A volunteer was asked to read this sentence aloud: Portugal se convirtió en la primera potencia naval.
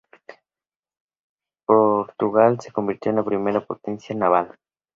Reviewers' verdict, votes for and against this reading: rejected, 0, 2